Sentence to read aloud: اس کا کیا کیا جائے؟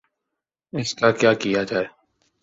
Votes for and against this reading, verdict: 5, 0, accepted